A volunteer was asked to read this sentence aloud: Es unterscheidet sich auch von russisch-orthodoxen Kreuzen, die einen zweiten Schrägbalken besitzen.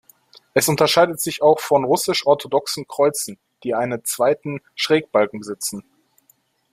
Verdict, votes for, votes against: rejected, 0, 2